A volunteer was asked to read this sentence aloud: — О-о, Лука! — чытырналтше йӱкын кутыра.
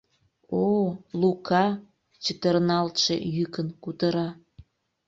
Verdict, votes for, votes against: accepted, 2, 0